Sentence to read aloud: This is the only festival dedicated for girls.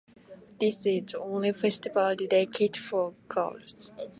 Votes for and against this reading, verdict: 1, 2, rejected